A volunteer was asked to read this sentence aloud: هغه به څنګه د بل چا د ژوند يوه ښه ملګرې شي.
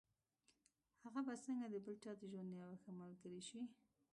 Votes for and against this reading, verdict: 1, 2, rejected